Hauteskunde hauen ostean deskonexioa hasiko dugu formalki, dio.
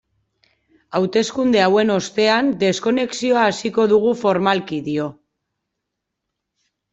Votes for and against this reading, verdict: 2, 0, accepted